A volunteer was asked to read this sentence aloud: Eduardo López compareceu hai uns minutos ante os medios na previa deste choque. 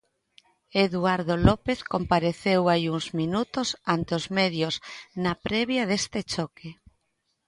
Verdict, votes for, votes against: accepted, 2, 0